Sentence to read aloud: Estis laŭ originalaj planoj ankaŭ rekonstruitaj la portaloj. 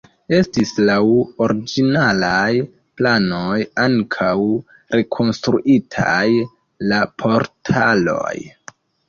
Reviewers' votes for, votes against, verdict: 1, 2, rejected